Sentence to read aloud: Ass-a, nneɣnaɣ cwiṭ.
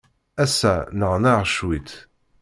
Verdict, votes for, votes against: accepted, 2, 1